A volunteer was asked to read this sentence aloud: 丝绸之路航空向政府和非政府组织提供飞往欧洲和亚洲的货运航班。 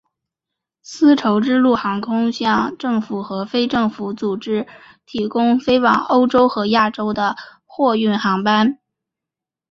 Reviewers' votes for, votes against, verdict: 7, 4, accepted